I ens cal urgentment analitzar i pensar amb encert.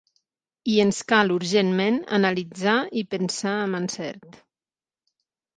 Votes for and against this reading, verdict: 3, 6, rejected